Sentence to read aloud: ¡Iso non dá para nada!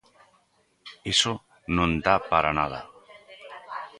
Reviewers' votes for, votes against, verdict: 2, 0, accepted